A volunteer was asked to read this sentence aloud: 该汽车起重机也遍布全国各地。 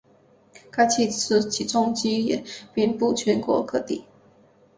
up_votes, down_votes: 3, 0